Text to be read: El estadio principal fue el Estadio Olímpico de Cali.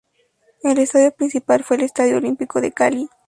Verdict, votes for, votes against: accepted, 2, 0